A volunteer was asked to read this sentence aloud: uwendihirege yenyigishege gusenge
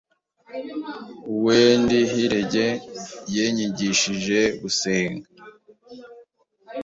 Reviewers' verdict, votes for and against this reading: accepted, 2, 0